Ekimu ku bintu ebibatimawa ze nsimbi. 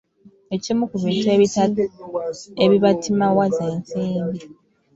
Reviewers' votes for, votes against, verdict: 1, 2, rejected